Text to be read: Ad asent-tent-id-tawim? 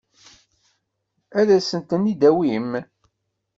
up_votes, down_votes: 1, 2